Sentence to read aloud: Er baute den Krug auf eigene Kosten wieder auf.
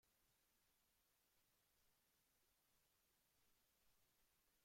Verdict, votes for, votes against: rejected, 0, 2